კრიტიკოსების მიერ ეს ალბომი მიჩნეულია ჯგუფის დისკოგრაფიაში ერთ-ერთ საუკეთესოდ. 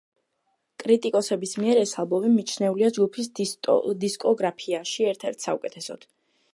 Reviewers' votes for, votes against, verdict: 1, 2, rejected